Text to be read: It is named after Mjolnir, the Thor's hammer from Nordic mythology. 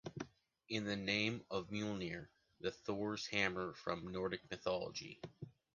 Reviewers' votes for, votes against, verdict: 0, 2, rejected